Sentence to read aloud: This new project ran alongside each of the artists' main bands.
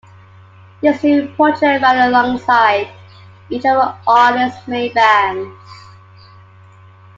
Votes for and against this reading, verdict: 2, 0, accepted